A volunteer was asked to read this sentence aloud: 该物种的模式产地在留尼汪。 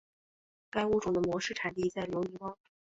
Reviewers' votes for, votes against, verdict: 3, 0, accepted